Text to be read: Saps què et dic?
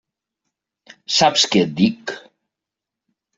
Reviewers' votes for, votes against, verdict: 3, 0, accepted